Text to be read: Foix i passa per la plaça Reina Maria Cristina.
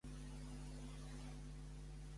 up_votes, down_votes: 0, 2